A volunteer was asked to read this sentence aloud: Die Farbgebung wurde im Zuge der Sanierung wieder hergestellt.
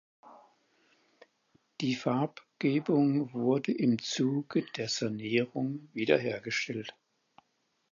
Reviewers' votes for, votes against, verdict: 4, 0, accepted